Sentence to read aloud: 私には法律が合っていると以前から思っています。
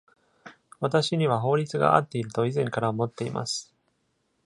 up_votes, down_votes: 2, 0